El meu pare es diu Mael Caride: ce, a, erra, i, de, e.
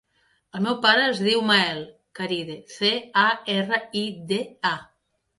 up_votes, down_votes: 0, 2